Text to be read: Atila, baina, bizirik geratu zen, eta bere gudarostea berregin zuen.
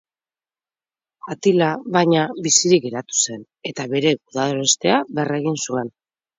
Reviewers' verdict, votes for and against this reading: rejected, 2, 2